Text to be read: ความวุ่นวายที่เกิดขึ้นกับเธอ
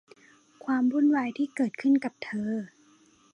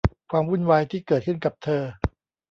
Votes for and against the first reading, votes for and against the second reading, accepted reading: 2, 2, 2, 0, second